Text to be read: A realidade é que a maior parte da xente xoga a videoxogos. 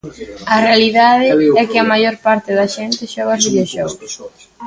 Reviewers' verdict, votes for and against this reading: rejected, 0, 2